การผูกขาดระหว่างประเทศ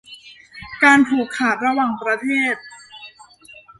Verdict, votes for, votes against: rejected, 1, 2